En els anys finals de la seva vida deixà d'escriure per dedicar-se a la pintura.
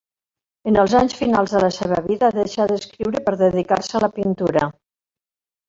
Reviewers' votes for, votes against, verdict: 3, 0, accepted